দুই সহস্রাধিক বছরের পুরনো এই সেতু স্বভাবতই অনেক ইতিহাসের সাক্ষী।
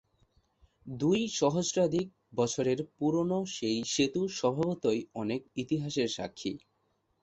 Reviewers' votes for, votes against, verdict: 2, 0, accepted